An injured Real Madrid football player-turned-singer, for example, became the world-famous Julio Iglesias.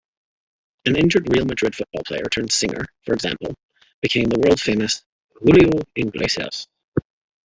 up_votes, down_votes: 2, 1